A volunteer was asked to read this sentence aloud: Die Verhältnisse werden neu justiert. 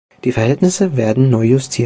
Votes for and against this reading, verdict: 1, 2, rejected